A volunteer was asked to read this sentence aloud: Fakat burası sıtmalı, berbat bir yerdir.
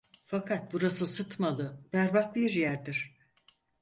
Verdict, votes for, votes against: accepted, 4, 0